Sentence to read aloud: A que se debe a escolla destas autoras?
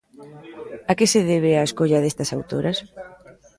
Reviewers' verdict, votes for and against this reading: rejected, 1, 2